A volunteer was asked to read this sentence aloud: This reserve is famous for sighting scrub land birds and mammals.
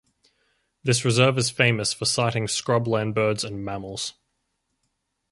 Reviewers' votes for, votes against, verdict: 4, 0, accepted